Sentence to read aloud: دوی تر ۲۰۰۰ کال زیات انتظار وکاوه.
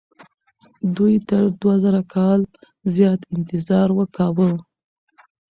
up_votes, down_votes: 0, 2